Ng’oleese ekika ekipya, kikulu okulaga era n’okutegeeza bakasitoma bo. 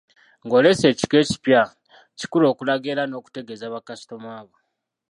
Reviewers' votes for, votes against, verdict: 1, 2, rejected